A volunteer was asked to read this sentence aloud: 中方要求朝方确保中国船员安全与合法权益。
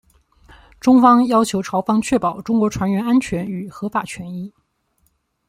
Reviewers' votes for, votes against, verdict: 2, 0, accepted